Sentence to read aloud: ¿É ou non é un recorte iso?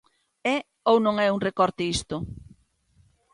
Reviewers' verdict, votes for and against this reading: rejected, 1, 2